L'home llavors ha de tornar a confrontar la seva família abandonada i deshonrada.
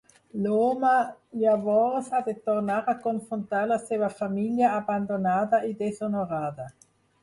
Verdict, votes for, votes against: rejected, 0, 4